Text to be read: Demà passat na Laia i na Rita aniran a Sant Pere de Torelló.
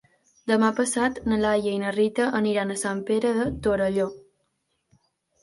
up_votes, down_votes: 2, 0